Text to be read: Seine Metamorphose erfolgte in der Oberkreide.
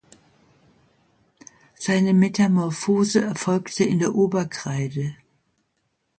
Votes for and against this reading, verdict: 2, 0, accepted